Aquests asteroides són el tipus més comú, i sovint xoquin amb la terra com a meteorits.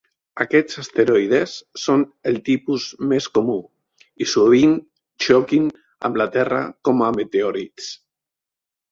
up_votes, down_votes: 2, 0